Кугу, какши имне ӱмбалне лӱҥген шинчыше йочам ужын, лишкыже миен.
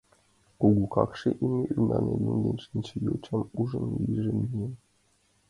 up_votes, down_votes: 0, 2